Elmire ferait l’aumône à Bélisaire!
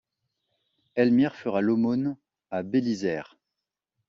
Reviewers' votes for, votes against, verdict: 2, 0, accepted